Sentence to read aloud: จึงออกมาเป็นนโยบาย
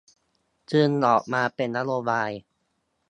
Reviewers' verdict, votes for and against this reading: rejected, 1, 2